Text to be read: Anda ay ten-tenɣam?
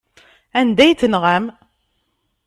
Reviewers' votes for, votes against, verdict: 0, 2, rejected